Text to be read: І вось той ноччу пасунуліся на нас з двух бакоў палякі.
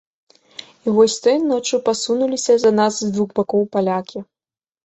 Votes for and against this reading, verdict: 0, 2, rejected